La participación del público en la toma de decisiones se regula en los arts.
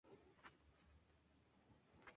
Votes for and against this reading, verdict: 0, 2, rejected